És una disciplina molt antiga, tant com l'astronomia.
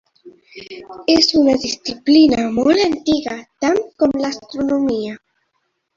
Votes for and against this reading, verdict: 3, 1, accepted